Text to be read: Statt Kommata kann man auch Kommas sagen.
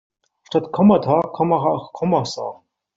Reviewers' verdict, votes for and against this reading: rejected, 1, 2